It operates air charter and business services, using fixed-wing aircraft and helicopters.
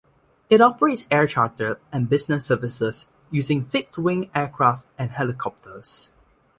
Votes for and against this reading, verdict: 2, 1, accepted